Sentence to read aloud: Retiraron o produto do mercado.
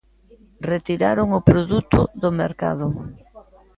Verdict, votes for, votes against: rejected, 1, 2